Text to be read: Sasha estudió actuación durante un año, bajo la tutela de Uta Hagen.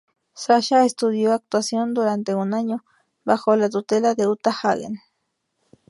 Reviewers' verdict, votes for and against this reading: accepted, 4, 0